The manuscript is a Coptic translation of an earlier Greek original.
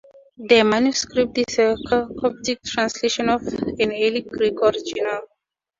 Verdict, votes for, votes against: rejected, 2, 4